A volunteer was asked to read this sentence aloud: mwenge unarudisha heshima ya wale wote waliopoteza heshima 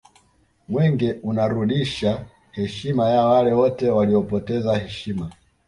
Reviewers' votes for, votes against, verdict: 2, 0, accepted